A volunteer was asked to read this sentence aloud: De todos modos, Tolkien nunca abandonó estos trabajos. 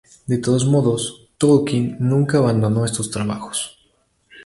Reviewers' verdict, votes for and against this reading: accepted, 2, 0